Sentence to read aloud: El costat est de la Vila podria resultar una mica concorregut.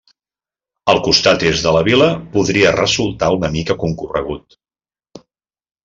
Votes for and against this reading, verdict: 2, 0, accepted